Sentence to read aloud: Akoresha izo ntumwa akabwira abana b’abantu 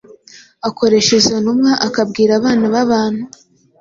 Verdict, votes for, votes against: accepted, 4, 0